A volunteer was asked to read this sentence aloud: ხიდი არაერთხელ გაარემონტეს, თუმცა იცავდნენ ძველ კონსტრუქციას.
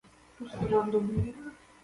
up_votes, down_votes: 0, 2